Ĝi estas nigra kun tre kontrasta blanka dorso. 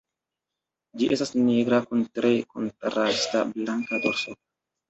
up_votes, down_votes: 2, 0